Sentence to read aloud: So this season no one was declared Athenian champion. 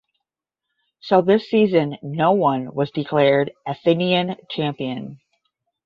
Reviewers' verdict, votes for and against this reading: accepted, 10, 0